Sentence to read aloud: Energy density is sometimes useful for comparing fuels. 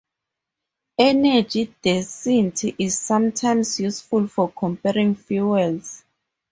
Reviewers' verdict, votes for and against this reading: accepted, 4, 0